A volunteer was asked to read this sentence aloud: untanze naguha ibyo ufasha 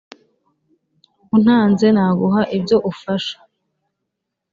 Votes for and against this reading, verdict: 6, 0, accepted